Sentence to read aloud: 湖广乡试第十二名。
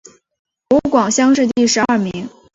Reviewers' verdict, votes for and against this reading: accepted, 2, 0